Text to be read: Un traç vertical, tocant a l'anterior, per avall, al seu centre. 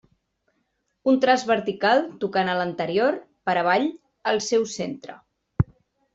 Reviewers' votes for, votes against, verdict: 2, 0, accepted